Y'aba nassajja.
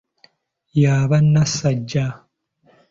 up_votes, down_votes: 2, 1